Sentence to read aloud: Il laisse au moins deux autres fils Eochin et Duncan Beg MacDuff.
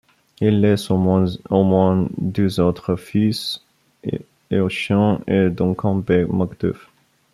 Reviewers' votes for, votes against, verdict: 1, 2, rejected